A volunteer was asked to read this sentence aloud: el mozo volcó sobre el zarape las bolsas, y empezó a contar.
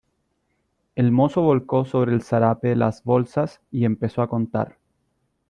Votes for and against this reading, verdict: 2, 0, accepted